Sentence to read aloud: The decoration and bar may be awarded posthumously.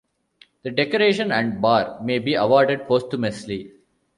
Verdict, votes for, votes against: accepted, 2, 0